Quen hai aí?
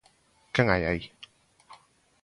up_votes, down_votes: 3, 0